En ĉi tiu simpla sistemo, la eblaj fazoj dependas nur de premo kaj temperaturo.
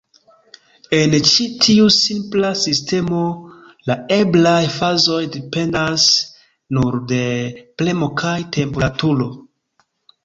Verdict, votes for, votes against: accepted, 2, 0